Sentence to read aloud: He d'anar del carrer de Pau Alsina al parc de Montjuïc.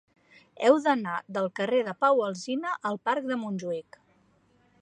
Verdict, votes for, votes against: rejected, 0, 2